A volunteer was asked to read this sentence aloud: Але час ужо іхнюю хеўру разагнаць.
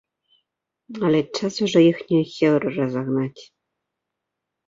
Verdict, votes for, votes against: rejected, 0, 2